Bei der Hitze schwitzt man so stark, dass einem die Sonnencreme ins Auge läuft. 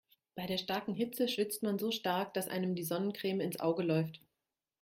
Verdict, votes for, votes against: rejected, 0, 2